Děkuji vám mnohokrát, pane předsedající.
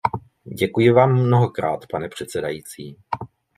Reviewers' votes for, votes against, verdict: 2, 0, accepted